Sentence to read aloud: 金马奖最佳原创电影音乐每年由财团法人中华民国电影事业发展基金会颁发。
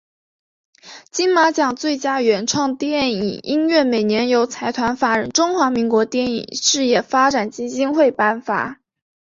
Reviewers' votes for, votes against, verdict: 3, 0, accepted